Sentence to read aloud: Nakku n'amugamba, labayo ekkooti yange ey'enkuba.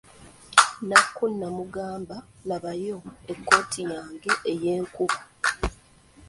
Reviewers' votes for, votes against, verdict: 0, 2, rejected